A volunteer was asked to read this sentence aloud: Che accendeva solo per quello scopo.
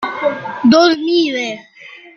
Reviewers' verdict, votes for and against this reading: rejected, 0, 2